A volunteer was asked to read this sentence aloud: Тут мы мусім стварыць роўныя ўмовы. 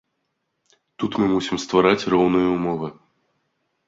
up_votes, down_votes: 1, 2